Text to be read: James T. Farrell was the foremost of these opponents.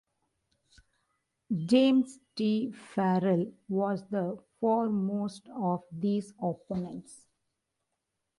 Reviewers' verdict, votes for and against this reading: rejected, 0, 2